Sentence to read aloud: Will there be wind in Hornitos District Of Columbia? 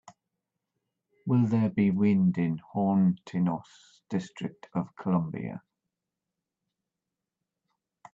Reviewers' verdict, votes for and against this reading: rejected, 0, 2